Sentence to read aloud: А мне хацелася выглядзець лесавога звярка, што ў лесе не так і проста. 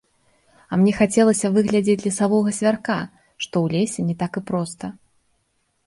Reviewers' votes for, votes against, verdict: 2, 0, accepted